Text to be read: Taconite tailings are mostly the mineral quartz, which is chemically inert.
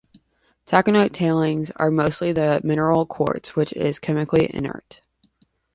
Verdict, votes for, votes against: rejected, 1, 2